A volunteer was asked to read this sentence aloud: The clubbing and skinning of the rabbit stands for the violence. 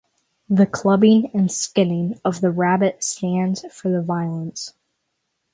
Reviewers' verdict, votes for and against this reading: rejected, 3, 3